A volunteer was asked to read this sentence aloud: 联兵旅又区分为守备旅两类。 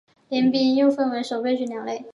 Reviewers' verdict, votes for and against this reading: accepted, 3, 0